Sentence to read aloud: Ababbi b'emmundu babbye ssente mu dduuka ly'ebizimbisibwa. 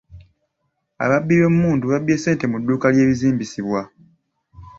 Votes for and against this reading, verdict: 2, 1, accepted